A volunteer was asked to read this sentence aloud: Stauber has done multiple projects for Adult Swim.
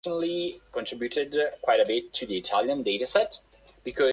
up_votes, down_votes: 0, 2